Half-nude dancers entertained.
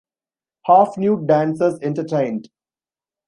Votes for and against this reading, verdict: 2, 0, accepted